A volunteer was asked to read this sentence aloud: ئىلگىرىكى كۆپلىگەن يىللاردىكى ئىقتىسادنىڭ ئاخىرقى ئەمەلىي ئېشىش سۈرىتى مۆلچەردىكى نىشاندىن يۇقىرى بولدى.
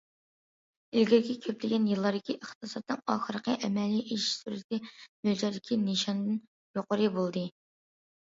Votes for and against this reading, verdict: 2, 0, accepted